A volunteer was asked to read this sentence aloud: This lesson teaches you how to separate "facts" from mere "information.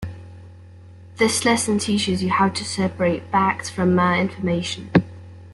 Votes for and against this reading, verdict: 2, 0, accepted